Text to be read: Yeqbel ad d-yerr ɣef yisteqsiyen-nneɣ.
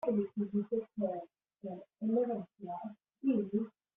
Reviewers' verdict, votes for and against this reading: rejected, 0, 2